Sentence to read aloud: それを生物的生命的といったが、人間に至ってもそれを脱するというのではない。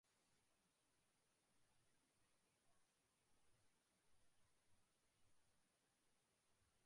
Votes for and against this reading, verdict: 0, 2, rejected